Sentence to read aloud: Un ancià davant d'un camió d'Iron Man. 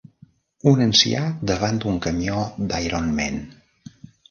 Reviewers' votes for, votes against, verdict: 2, 1, accepted